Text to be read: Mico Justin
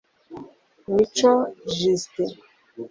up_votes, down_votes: 1, 2